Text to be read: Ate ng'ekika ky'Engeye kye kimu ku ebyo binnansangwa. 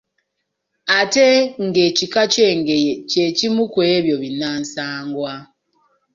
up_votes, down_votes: 0, 2